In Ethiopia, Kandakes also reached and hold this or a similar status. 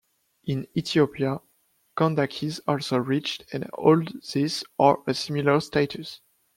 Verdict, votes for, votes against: rejected, 0, 2